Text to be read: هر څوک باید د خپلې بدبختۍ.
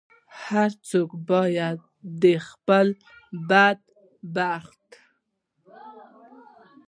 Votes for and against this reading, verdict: 1, 2, rejected